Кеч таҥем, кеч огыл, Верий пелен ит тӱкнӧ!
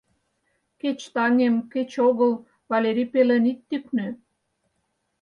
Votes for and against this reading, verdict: 0, 4, rejected